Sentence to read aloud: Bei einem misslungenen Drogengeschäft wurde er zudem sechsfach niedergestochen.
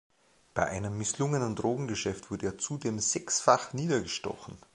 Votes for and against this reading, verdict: 2, 0, accepted